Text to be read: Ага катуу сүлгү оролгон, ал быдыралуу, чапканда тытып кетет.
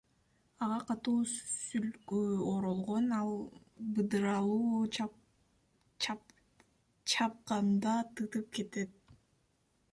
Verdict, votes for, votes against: accepted, 2, 0